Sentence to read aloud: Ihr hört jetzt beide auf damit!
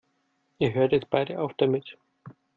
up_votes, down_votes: 2, 0